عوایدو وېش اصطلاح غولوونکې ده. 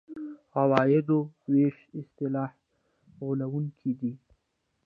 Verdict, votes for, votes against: rejected, 0, 2